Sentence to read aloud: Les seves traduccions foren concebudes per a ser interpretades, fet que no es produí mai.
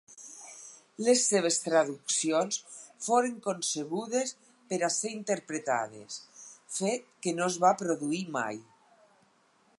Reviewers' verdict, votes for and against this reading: rejected, 2, 4